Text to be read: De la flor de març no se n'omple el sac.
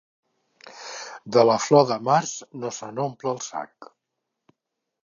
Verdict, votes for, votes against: accepted, 2, 0